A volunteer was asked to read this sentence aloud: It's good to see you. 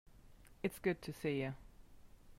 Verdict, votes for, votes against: accepted, 3, 0